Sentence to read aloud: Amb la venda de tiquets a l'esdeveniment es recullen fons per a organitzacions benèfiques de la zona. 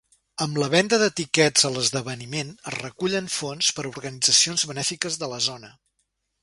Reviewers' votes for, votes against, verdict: 2, 0, accepted